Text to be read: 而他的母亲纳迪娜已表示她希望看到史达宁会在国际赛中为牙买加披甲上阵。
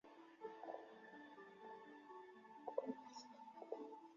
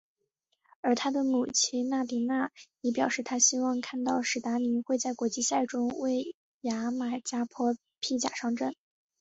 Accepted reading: second